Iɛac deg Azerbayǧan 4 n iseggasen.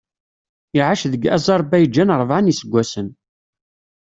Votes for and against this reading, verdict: 0, 2, rejected